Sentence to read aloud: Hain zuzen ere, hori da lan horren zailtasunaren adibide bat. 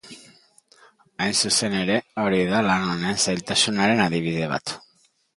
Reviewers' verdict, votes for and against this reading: rejected, 0, 2